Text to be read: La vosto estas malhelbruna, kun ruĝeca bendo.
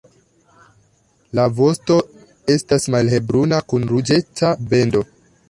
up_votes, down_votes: 2, 0